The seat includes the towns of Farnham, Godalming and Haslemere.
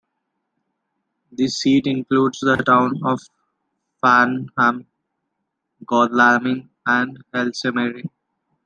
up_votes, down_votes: 1, 2